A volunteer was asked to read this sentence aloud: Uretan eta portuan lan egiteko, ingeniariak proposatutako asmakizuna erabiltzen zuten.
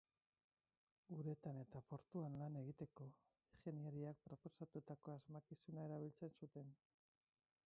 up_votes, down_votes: 2, 2